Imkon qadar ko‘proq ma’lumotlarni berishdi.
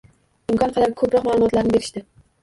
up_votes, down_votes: 1, 2